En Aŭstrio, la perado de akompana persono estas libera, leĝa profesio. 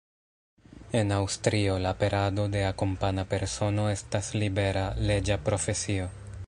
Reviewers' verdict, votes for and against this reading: rejected, 1, 2